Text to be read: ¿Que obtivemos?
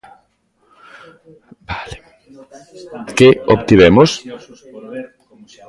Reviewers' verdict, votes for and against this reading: rejected, 0, 2